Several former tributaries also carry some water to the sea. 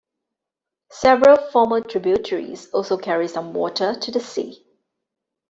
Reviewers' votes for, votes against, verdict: 2, 0, accepted